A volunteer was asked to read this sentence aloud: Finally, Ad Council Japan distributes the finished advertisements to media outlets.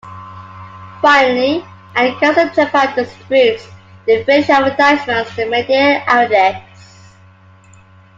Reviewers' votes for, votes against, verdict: 2, 0, accepted